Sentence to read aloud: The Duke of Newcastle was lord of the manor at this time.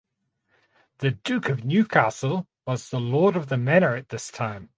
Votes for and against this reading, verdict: 2, 0, accepted